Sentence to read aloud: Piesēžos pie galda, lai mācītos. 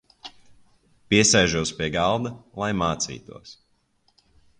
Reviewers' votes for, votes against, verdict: 2, 0, accepted